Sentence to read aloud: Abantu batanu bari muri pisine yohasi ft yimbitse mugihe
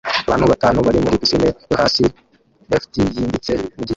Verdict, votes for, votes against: rejected, 0, 2